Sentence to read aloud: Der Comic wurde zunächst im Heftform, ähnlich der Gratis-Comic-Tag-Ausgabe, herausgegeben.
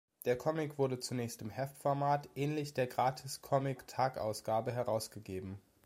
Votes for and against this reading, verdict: 1, 2, rejected